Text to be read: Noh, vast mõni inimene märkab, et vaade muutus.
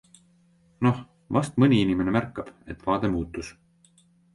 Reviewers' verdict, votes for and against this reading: accepted, 2, 0